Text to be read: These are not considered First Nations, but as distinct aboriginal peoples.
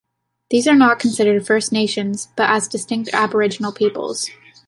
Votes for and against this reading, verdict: 2, 0, accepted